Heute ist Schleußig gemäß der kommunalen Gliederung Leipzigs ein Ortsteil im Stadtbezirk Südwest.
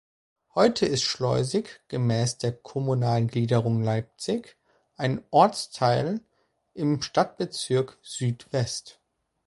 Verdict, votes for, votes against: rejected, 1, 2